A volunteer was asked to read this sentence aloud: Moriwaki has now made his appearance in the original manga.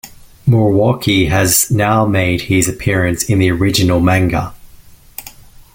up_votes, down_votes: 2, 0